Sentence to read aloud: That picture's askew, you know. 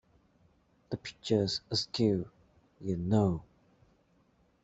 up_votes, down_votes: 2, 1